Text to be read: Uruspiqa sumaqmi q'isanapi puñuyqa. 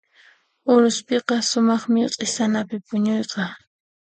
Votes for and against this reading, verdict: 2, 0, accepted